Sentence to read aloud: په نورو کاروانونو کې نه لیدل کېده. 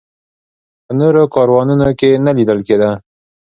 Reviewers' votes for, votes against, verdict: 2, 0, accepted